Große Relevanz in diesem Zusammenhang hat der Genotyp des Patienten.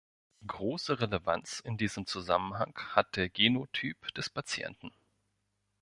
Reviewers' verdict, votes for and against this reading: accepted, 2, 0